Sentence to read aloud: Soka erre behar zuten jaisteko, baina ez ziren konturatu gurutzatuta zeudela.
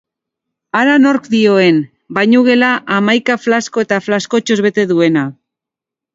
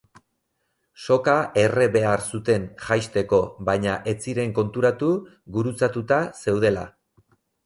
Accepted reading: second